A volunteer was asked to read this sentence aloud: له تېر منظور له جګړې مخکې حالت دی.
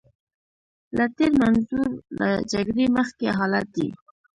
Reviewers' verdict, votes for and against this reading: accepted, 5, 0